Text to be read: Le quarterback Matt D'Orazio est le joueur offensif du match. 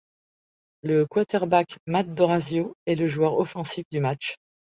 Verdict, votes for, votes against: accepted, 2, 0